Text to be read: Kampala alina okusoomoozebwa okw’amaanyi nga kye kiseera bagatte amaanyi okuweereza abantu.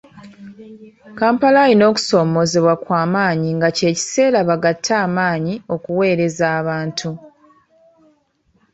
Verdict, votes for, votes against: accepted, 2, 0